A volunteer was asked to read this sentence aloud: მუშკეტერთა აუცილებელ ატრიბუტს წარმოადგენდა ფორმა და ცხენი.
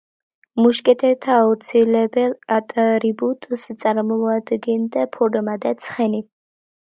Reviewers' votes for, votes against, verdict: 1, 2, rejected